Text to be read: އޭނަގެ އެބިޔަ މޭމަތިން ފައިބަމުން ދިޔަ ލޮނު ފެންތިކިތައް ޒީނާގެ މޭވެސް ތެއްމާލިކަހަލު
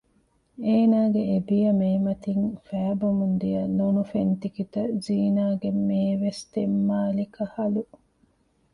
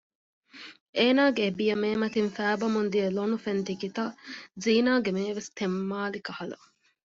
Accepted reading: second